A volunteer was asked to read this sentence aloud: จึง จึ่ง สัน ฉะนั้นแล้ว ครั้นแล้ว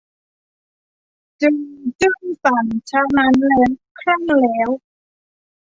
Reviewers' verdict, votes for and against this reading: rejected, 1, 2